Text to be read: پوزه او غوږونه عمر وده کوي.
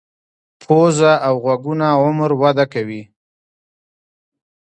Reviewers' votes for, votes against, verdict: 0, 2, rejected